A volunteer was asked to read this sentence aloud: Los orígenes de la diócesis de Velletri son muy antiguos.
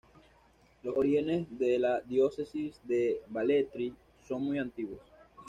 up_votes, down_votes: 0, 2